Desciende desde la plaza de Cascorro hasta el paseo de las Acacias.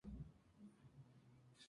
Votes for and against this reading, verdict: 0, 2, rejected